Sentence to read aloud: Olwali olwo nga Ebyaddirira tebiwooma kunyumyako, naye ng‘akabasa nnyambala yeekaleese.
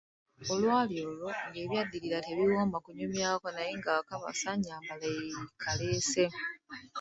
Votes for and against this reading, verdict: 2, 1, accepted